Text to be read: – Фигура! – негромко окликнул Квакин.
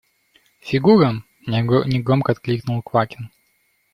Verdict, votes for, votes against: rejected, 1, 2